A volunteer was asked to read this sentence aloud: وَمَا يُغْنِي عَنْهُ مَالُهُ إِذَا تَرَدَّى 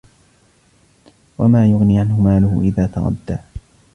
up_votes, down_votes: 2, 1